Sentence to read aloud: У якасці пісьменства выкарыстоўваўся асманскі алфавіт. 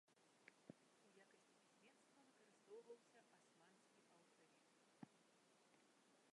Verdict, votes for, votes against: rejected, 0, 2